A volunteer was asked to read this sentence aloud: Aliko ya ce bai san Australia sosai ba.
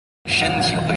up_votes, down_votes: 0, 2